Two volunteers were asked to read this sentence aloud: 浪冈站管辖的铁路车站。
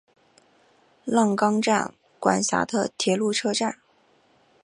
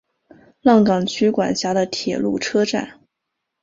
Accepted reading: first